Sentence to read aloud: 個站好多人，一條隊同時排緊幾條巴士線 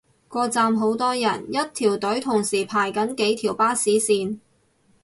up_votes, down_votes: 4, 0